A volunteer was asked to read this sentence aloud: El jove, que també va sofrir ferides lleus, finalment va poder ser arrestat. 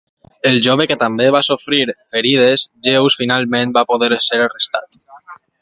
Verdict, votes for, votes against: accepted, 2, 0